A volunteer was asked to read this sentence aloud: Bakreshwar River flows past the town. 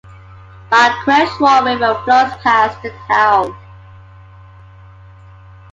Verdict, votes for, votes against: accepted, 2, 0